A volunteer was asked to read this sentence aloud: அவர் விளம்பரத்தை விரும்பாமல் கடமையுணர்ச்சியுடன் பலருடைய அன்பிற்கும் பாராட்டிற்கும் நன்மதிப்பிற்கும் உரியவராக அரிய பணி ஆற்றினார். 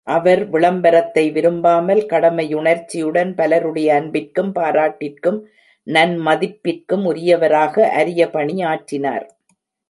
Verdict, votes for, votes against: accepted, 2, 0